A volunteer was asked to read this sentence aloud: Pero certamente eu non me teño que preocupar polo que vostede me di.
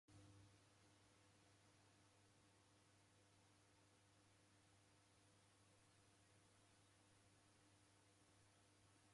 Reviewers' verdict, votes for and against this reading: rejected, 0, 3